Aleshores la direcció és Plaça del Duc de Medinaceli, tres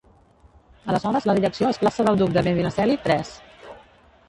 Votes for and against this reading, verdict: 1, 3, rejected